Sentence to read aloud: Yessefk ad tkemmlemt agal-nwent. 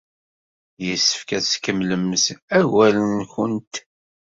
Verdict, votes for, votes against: accepted, 2, 0